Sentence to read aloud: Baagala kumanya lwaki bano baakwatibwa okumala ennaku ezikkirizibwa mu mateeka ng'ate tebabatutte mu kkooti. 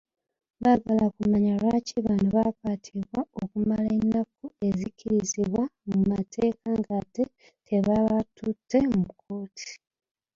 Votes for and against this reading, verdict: 2, 0, accepted